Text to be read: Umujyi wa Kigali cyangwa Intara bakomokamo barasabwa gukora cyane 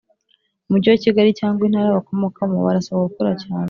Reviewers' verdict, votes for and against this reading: accepted, 2, 0